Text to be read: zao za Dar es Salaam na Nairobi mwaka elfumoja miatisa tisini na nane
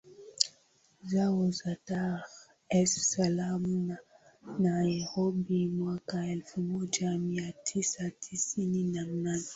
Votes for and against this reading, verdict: 9, 8, accepted